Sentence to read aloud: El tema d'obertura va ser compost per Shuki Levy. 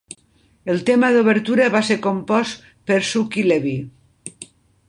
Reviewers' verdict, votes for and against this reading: accepted, 3, 0